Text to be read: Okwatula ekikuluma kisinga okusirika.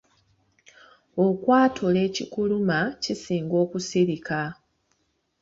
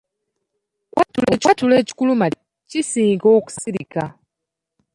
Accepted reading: first